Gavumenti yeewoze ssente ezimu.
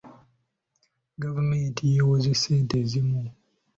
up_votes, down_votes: 2, 0